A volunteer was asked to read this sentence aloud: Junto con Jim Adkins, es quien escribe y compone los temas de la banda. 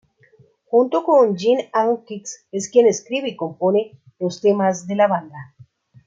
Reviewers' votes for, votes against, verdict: 2, 0, accepted